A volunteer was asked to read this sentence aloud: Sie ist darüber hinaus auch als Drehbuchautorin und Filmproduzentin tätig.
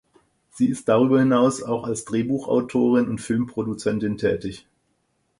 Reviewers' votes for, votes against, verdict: 4, 0, accepted